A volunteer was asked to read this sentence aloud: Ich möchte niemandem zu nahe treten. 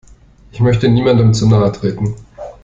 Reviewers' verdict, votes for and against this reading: accepted, 2, 0